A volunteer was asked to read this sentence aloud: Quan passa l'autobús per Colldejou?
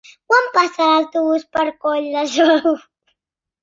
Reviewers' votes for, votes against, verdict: 2, 1, accepted